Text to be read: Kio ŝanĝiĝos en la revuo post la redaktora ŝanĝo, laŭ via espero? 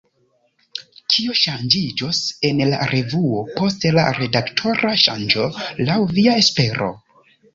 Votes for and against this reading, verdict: 2, 0, accepted